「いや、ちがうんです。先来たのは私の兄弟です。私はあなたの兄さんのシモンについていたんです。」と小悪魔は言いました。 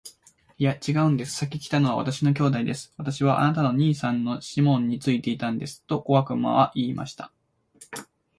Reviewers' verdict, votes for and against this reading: accepted, 2, 0